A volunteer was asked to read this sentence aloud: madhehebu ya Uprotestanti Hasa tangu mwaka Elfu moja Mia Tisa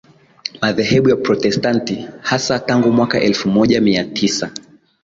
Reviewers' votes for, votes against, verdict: 1, 3, rejected